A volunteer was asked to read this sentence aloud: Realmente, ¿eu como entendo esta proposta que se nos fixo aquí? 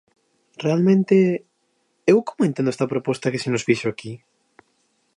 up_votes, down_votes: 2, 0